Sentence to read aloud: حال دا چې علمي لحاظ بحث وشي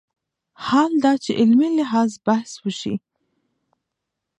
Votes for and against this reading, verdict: 1, 2, rejected